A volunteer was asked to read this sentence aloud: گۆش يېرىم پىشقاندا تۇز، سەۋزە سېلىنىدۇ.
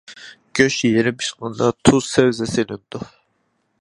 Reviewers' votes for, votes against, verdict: 0, 2, rejected